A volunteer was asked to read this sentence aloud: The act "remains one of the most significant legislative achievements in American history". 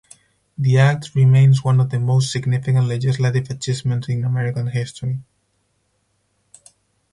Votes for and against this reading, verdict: 2, 2, rejected